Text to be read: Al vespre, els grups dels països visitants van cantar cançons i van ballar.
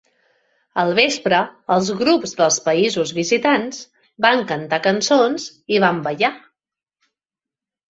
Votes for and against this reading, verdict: 3, 0, accepted